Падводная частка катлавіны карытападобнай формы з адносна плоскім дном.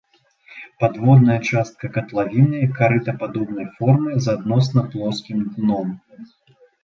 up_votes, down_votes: 2, 0